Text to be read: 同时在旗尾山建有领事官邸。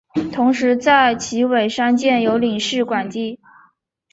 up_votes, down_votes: 2, 0